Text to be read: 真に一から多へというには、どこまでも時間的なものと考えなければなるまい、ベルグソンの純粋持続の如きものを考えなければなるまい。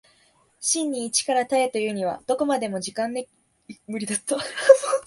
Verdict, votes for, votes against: rejected, 0, 2